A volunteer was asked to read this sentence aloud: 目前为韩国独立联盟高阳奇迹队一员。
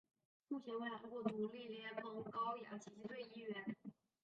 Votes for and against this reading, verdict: 0, 7, rejected